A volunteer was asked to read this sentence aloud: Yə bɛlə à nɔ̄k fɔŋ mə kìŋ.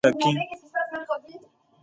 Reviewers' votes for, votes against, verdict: 2, 1, accepted